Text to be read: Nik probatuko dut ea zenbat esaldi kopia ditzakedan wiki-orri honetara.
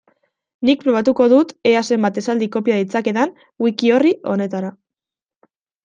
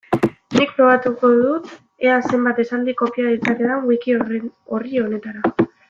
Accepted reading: first